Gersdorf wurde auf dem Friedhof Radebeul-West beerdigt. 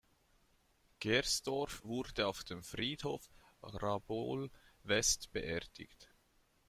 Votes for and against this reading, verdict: 0, 2, rejected